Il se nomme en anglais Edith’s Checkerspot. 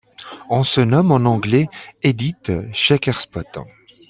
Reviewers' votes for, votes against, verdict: 0, 2, rejected